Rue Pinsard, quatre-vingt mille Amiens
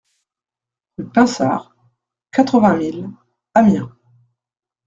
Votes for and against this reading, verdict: 1, 2, rejected